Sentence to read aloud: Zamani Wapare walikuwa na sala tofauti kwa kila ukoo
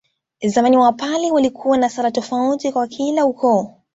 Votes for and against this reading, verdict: 2, 0, accepted